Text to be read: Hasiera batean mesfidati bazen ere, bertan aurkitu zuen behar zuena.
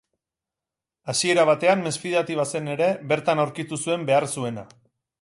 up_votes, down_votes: 6, 0